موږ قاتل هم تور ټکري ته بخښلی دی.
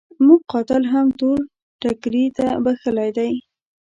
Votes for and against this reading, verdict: 1, 2, rejected